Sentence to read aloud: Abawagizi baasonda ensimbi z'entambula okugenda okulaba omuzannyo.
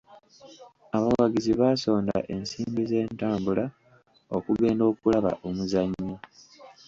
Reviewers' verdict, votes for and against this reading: rejected, 0, 2